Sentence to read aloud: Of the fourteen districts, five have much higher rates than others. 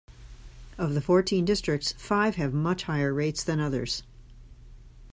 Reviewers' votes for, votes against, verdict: 2, 0, accepted